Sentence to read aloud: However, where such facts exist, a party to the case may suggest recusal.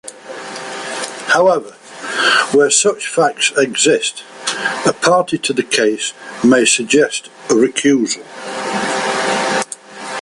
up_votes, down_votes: 2, 0